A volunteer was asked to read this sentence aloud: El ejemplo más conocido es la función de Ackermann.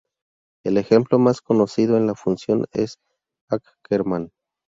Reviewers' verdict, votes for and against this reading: rejected, 0, 2